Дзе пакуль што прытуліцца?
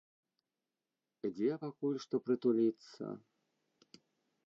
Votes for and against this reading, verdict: 0, 2, rejected